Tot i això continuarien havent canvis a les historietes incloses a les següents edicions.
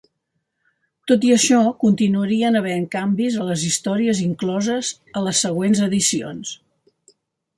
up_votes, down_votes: 0, 2